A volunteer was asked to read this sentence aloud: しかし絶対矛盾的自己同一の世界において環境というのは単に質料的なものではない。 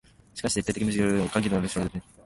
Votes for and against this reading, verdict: 0, 2, rejected